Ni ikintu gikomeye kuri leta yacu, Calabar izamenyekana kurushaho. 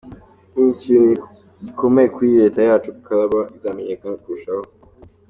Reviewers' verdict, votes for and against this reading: accepted, 2, 0